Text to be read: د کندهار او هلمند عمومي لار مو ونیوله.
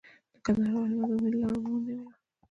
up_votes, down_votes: 2, 1